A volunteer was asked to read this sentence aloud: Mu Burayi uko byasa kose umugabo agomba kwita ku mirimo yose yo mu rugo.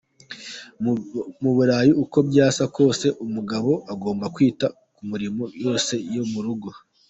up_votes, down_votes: 0, 2